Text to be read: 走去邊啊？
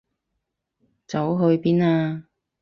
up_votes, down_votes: 6, 0